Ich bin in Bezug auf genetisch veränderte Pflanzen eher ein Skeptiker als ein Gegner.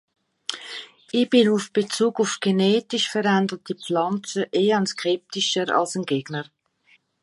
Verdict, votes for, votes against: rejected, 1, 3